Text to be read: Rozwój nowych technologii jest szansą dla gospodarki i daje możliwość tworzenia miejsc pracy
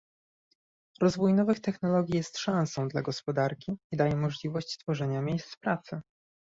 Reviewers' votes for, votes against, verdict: 2, 0, accepted